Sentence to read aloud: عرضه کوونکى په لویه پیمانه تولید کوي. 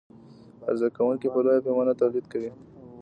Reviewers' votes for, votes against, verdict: 1, 2, rejected